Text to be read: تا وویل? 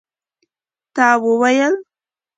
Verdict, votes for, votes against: accepted, 2, 0